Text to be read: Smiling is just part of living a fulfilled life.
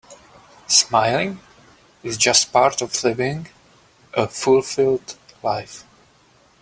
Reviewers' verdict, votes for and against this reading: accepted, 2, 0